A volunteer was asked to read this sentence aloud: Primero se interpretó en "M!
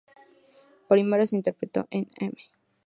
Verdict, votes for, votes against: accepted, 2, 0